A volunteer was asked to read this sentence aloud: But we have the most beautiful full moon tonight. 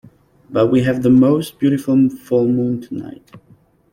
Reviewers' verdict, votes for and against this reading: rejected, 0, 2